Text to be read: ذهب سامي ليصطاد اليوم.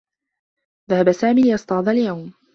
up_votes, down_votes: 2, 0